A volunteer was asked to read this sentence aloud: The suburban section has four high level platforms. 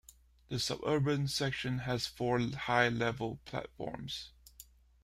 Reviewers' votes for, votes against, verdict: 0, 2, rejected